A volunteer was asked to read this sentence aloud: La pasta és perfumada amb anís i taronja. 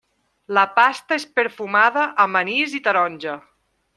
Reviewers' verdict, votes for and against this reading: accepted, 3, 0